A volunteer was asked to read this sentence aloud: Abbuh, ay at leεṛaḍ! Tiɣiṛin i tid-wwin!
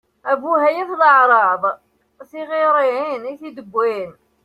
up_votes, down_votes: 0, 2